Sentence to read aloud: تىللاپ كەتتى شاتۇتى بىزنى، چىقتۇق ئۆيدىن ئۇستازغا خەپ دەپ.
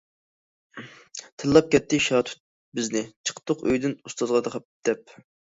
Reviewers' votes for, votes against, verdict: 0, 2, rejected